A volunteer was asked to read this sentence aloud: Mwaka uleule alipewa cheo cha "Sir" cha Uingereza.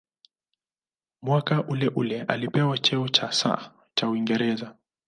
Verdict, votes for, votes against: accepted, 2, 0